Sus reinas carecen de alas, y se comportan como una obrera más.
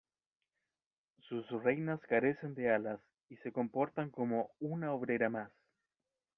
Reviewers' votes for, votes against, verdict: 1, 2, rejected